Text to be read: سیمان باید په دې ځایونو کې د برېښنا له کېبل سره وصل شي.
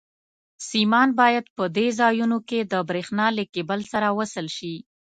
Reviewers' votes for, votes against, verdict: 2, 0, accepted